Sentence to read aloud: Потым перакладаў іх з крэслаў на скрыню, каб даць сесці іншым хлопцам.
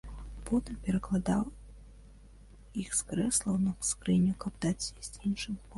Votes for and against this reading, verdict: 0, 2, rejected